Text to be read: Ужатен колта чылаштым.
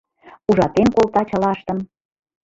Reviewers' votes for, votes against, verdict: 2, 1, accepted